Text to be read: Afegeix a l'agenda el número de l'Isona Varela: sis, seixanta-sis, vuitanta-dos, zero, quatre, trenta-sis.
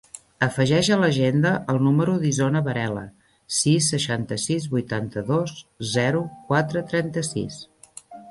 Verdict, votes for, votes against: rejected, 0, 2